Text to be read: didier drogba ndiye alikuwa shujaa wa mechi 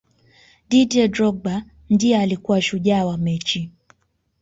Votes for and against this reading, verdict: 2, 0, accepted